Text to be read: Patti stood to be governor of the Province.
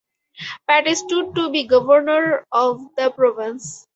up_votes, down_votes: 2, 0